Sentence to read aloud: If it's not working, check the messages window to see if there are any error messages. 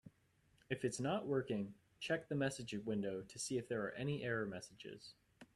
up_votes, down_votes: 0, 2